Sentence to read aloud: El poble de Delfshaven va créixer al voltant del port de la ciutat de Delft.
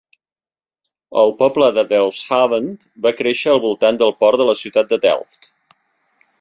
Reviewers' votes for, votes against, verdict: 3, 0, accepted